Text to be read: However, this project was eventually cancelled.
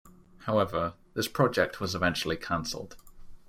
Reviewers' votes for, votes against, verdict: 2, 0, accepted